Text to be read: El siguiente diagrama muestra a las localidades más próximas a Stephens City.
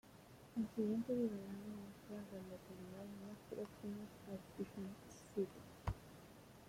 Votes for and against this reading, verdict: 0, 2, rejected